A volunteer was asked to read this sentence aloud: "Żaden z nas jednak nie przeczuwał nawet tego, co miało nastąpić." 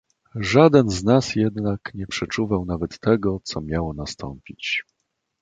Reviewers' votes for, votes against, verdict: 2, 0, accepted